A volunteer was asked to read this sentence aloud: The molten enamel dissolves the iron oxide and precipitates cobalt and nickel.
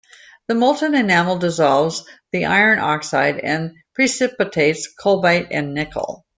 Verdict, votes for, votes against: rejected, 0, 2